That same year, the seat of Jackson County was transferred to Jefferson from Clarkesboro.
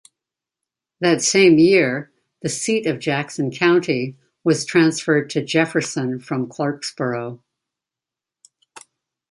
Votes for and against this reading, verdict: 2, 0, accepted